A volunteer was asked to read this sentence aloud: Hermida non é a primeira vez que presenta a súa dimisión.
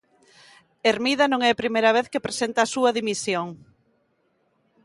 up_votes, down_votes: 3, 0